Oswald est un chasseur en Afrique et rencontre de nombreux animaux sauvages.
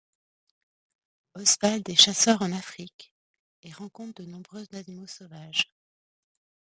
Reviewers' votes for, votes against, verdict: 1, 2, rejected